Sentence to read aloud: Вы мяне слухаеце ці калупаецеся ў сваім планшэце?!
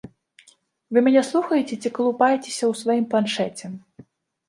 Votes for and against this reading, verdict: 2, 0, accepted